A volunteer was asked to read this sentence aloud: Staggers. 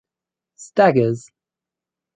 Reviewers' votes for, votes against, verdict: 4, 0, accepted